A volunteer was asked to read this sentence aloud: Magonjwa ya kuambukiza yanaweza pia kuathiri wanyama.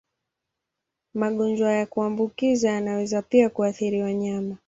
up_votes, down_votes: 9, 1